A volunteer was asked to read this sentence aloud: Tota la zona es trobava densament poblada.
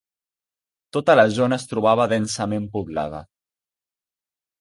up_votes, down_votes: 0, 2